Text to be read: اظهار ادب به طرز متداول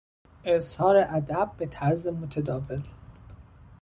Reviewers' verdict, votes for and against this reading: accepted, 2, 0